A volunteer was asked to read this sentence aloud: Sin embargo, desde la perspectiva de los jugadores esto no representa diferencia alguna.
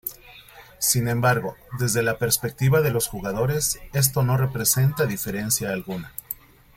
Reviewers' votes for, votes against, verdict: 2, 1, accepted